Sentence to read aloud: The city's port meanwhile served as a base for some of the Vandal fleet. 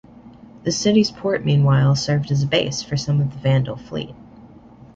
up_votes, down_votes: 2, 0